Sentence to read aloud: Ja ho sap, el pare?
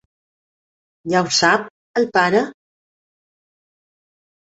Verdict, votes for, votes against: accepted, 2, 0